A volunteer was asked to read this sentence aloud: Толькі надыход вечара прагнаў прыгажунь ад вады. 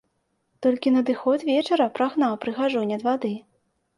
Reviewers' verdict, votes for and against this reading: accepted, 2, 0